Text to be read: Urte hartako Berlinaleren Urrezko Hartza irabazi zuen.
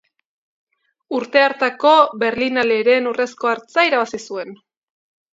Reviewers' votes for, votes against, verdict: 2, 0, accepted